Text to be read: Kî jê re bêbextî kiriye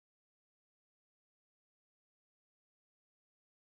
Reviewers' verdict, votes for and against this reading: rejected, 0, 2